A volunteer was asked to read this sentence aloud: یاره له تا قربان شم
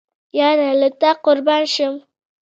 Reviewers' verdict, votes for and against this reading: accepted, 2, 0